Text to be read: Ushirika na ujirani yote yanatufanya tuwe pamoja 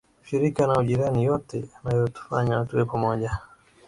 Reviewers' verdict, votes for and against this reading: accepted, 2, 0